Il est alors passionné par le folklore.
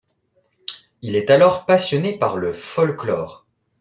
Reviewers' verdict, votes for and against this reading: accepted, 2, 0